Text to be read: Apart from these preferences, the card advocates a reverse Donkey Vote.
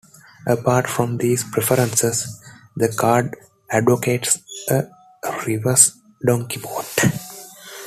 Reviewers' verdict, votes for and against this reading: accepted, 2, 0